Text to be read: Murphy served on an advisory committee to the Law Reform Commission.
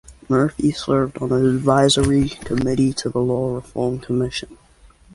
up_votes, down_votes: 2, 0